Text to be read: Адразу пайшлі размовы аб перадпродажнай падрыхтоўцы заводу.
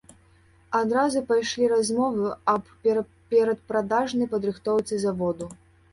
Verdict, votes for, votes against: rejected, 1, 2